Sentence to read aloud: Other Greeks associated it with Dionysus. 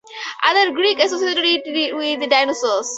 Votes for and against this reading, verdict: 2, 4, rejected